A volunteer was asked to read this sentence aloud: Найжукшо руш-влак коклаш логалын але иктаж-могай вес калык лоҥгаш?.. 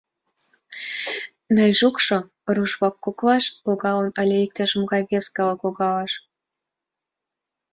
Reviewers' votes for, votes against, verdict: 2, 1, accepted